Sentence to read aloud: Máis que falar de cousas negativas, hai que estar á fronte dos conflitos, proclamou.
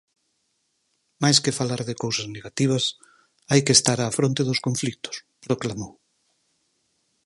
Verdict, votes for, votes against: accepted, 4, 2